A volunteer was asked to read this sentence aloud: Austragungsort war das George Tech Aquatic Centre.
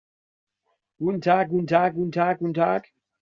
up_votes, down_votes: 0, 2